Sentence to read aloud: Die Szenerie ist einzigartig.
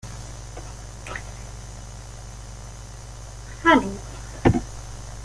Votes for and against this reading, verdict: 0, 2, rejected